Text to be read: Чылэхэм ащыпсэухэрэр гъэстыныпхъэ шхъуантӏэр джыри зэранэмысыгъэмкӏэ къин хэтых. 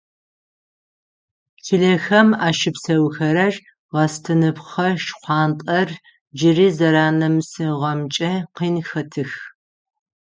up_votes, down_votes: 0, 6